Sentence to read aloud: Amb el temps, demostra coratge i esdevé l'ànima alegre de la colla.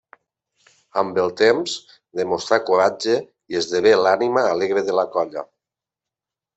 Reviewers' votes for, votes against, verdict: 1, 2, rejected